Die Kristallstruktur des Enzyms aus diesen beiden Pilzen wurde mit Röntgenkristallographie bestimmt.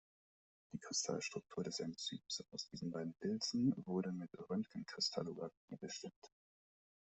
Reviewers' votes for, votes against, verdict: 2, 0, accepted